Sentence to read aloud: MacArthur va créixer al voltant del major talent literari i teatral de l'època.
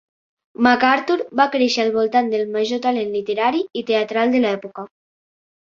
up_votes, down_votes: 2, 1